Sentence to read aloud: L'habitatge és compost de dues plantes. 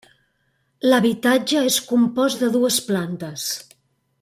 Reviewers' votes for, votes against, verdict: 3, 0, accepted